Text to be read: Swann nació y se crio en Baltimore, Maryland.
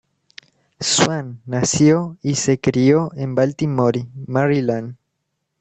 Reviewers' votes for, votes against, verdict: 1, 2, rejected